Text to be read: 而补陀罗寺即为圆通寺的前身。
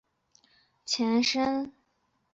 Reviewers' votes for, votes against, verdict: 2, 3, rejected